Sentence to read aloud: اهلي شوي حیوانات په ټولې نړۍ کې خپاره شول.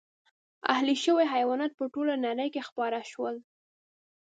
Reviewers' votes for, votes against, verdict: 1, 2, rejected